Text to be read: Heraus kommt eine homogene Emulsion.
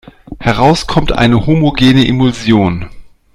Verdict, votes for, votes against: accepted, 2, 0